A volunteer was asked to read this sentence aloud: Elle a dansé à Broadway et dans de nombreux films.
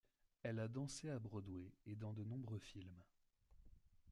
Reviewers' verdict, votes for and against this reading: rejected, 0, 2